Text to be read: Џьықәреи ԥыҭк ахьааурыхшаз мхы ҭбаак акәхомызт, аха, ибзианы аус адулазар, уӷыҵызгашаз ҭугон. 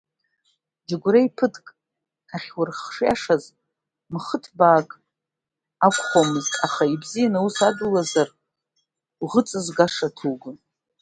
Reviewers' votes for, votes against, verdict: 0, 2, rejected